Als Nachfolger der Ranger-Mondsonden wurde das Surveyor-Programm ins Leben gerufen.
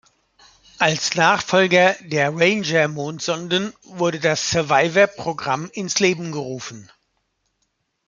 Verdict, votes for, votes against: rejected, 1, 2